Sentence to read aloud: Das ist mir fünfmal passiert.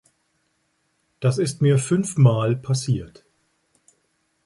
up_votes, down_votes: 3, 0